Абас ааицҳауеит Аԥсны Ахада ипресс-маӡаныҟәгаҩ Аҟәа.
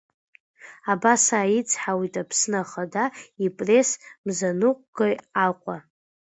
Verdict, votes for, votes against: rejected, 0, 2